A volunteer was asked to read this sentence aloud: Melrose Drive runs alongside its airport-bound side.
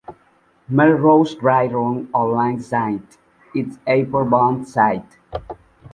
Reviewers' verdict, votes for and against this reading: accepted, 2, 0